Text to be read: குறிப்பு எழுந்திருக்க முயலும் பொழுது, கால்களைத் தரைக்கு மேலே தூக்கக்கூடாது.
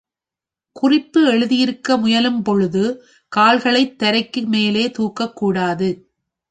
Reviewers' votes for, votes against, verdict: 1, 2, rejected